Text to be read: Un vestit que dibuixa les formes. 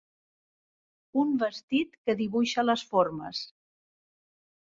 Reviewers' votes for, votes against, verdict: 3, 0, accepted